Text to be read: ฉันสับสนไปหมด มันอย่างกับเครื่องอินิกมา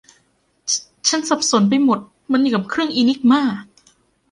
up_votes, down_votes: 2, 0